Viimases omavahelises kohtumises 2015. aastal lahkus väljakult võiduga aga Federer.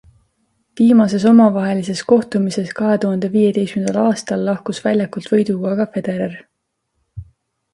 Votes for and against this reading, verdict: 0, 2, rejected